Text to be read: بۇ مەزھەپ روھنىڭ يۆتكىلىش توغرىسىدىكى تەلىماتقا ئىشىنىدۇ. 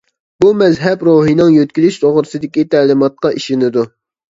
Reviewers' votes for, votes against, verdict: 2, 0, accepted